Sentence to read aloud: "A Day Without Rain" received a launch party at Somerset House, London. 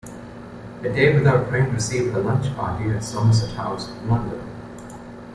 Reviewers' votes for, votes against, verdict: 2, 0, accepted